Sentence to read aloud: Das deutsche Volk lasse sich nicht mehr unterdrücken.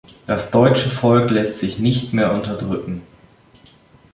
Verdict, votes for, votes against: rejected, 0, 2